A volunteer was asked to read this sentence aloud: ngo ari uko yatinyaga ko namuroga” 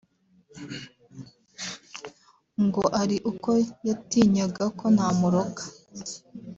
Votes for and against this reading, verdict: 2, 1, accepted